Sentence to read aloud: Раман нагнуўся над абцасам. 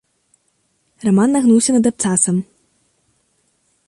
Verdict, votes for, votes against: accepted, 2, 0